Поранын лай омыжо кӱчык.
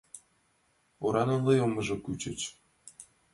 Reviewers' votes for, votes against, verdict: 1, 3, rejected